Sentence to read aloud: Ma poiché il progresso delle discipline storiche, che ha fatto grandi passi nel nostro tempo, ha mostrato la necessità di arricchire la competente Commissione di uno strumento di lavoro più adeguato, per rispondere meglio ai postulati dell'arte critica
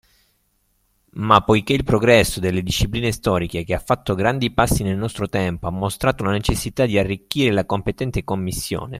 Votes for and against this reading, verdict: 0, 2, rejected